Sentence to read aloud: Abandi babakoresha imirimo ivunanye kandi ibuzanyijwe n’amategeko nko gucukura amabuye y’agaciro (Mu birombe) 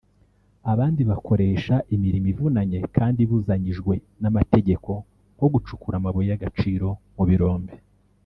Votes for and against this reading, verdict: 1, 2, rejected